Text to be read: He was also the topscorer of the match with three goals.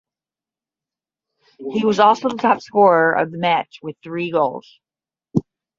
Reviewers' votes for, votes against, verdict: 10, 0, accepted